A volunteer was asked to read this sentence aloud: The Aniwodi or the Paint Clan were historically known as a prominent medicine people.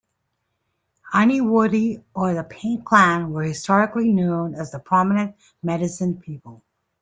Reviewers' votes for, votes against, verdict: 2, 0, accepted